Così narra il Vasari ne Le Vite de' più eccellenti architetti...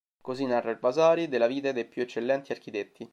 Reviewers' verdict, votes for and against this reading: rejected, 1, 2